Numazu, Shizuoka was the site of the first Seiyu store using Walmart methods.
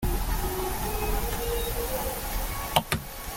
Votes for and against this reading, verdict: 0, 2, rejected